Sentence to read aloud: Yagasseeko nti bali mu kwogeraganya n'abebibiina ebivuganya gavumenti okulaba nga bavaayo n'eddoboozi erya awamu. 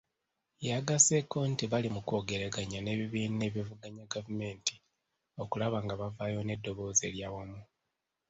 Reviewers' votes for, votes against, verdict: 1, 2, rejected